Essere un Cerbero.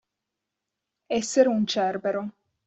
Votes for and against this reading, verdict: 2, 0, accepted